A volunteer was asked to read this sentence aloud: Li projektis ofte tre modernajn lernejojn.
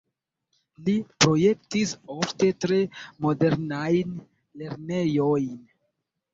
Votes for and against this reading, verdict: 1, 2, rejected